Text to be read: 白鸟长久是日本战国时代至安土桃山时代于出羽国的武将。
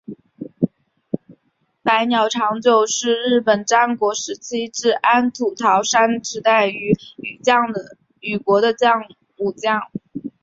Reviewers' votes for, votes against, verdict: 0, 2, rejected